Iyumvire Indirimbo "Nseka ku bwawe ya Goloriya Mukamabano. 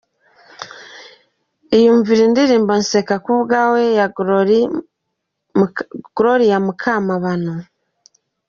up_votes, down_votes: 1, 2